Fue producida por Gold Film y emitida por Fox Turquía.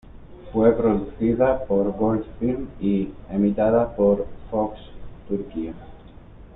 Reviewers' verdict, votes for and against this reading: accepted, 2, 0